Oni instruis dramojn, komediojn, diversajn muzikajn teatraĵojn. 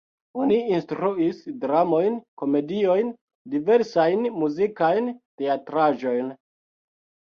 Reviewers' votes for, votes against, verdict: 2, 0, accepted